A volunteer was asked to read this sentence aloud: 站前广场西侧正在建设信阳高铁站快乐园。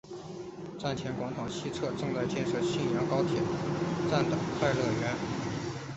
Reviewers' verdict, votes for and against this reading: rejected, 2, 3